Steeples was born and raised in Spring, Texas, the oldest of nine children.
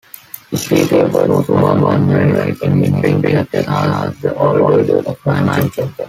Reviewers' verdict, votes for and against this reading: rejected, 0, 2